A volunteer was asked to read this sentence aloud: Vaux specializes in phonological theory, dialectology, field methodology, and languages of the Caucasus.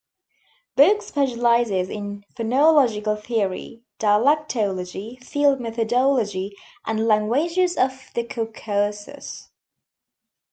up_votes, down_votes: 0, 2